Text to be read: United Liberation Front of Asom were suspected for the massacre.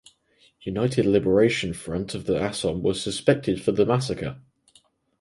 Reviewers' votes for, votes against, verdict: 0, 4, rejected